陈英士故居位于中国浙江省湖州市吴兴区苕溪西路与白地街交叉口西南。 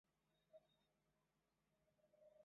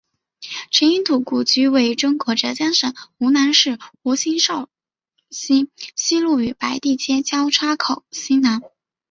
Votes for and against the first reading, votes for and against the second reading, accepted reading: 0, 2, 4, 1, second